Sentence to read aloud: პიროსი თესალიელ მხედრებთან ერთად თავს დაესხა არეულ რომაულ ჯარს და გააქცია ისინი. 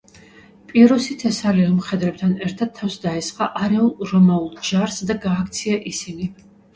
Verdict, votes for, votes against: accepted, 2, 1